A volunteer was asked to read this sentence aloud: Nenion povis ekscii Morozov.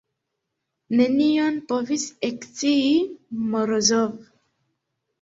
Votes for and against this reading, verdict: 0, 2, rejected